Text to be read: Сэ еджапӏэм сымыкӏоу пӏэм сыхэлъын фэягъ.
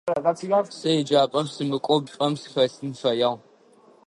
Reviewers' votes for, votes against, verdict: 1, 2, rejected